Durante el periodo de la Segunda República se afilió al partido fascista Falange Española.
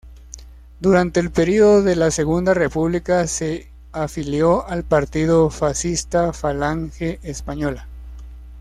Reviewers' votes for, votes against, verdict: 2, 0, accepted